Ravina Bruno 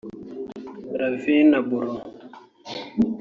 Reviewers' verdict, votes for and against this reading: rejected, 0, 2